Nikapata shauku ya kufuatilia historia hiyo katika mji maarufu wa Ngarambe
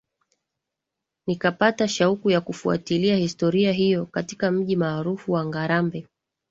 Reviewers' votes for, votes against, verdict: 2, 0, accepted